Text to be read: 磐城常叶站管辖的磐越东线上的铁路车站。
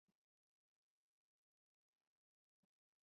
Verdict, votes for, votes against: rejected, 0, 3